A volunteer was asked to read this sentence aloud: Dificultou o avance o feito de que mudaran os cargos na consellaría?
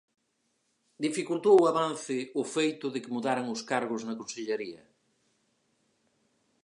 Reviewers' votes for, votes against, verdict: 4, 0, accepted